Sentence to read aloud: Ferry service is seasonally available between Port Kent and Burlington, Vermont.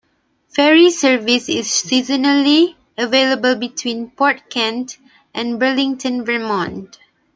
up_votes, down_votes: 2, 0